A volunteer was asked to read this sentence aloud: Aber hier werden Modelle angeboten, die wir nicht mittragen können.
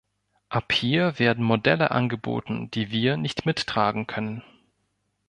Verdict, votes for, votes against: rejected, 0, 2